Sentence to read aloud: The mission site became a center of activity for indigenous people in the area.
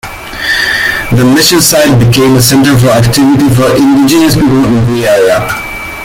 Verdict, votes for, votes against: rejected, 1, 2